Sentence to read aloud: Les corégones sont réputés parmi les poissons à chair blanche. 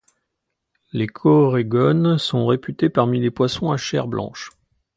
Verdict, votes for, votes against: accepted, 2, 1